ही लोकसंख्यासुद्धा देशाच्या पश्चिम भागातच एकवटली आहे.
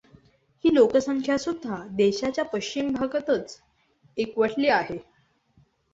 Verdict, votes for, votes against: accepted, 2, 0